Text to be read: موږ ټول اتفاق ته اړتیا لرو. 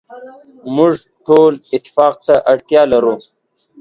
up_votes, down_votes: 2, 0